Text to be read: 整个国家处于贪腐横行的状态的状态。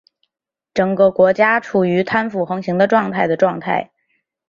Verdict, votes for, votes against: accepted, 2, 1